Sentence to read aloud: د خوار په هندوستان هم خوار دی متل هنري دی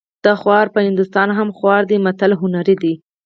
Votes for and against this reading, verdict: 4, 0, accepted